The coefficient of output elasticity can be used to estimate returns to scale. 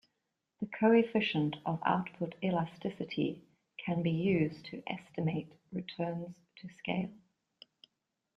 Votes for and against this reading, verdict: 2, 0, accepted